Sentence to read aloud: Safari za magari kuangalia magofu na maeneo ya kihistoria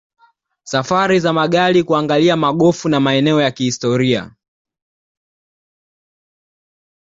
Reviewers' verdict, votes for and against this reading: accepted, 2, 0